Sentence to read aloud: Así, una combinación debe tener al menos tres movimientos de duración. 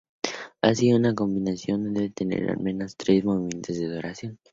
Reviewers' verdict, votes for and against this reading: accepted, 4, 0